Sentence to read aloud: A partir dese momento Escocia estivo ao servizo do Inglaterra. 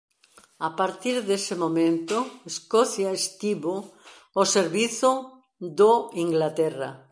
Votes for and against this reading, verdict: 2, 0, accepted